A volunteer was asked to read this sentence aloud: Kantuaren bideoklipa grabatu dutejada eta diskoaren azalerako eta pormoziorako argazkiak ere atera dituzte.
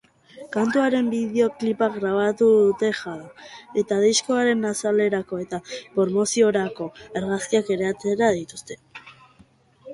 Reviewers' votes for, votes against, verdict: 0, 2, rejected